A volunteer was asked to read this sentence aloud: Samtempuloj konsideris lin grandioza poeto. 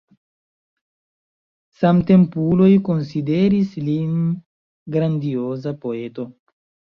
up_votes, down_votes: 2, 1